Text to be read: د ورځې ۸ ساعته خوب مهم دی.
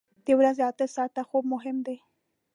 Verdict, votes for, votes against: rejected, 0, 2